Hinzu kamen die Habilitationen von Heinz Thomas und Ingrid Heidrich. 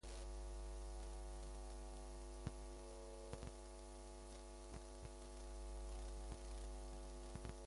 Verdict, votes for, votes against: rejected, 0, 2